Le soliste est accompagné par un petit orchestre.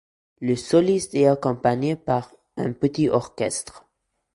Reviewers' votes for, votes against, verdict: 0, 2, rejected